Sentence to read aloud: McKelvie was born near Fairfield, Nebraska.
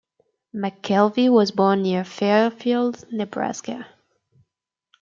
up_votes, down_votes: 2, 0